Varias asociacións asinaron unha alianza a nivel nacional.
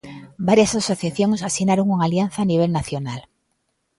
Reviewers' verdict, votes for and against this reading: accepted, 2, 0